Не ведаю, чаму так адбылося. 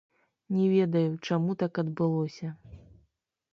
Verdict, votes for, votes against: rejected, 1, 2